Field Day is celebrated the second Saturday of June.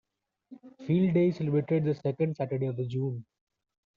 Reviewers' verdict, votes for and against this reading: rejected, 1, 2